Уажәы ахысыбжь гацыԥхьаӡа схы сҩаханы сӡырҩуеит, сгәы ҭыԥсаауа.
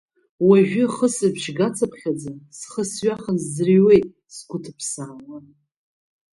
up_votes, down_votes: 2, 1